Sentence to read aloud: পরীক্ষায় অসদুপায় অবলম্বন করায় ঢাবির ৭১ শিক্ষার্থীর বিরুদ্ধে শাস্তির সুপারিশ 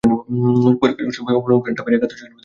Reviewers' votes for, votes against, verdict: 0, 2, rejected